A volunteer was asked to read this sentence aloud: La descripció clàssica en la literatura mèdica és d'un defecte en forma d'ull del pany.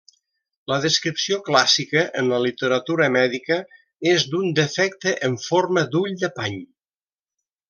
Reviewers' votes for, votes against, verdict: 1, 2, rejected